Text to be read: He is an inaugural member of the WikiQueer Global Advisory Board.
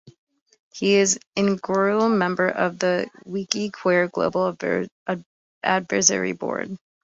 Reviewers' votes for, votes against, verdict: 1, 2, rejected